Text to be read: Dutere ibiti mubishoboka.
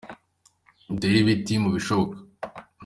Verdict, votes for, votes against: accepted, 2, 0